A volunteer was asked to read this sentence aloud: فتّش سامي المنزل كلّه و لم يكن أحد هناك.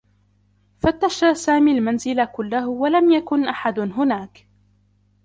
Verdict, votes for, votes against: rejected, 1, 2